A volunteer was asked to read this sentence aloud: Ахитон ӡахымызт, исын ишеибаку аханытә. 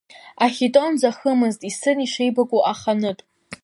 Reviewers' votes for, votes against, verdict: 2, 0, accepted